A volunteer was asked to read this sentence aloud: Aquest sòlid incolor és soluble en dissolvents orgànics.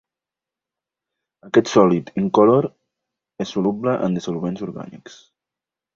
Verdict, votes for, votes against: accepted, 3, 0